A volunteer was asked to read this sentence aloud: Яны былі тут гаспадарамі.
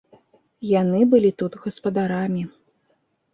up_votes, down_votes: 2, 0